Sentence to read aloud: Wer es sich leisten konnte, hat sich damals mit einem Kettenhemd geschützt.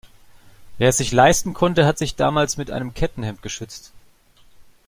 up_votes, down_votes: 1, 2